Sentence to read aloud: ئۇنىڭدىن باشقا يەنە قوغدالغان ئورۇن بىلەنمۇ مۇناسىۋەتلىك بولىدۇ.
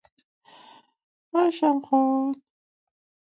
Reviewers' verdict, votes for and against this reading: rejected, 0, 2